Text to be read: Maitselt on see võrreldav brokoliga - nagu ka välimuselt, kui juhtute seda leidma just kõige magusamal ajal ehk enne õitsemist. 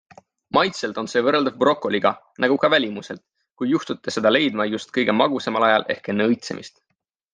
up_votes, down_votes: 2, 0